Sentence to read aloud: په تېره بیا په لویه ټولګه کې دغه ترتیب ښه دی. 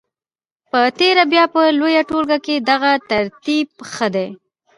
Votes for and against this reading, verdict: 1, 2, rejected